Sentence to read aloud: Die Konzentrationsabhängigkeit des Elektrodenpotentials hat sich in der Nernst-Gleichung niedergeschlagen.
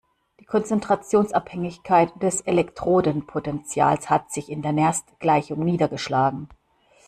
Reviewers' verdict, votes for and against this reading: accepted, 2, 1